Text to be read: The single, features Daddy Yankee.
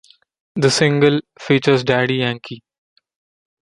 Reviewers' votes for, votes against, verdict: 2, 0, accepted